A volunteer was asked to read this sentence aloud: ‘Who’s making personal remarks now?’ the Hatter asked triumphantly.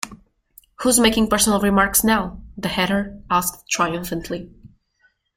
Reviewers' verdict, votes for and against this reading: accepted, 2, 0